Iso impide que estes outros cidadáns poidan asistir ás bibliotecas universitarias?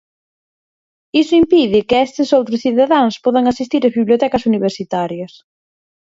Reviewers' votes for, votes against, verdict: 0, 6, rejected